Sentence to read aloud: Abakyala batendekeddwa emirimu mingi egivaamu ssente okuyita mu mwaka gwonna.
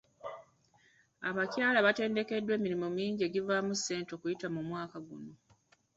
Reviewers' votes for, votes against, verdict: 2, 0, accepted